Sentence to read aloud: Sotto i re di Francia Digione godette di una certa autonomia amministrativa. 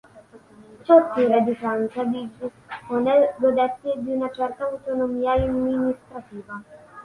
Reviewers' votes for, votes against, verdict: 0, 3, rejected